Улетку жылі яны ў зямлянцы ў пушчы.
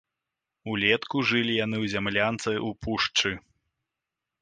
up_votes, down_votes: 2, 0